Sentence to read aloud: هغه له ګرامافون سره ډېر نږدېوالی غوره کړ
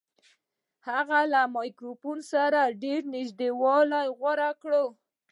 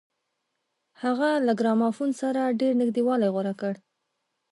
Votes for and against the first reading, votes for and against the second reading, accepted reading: 0, 2, 2, 1, second